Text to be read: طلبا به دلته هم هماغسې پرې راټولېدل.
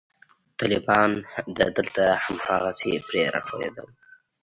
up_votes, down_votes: 2, 1